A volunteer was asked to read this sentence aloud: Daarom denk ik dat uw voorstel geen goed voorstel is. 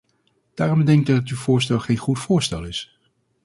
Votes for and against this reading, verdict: 0, 2, rejected